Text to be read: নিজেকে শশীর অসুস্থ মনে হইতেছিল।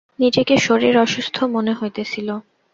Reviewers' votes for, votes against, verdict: 0, 2, rejected